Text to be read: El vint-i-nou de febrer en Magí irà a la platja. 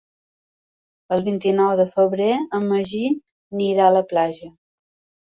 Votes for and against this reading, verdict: 0, 2, rejected